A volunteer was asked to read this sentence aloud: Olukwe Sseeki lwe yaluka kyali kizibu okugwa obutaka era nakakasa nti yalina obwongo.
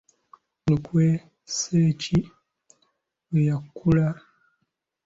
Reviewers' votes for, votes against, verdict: 0, 2, rejected